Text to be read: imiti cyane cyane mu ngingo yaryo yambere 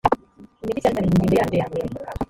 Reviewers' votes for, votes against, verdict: 1, 2, rejected